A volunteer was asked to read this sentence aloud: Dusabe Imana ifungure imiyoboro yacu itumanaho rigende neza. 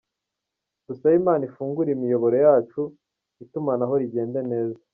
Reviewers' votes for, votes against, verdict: 2, 0, accepted